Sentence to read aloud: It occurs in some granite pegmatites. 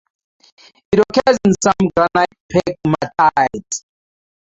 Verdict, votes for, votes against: rejected, 0, 2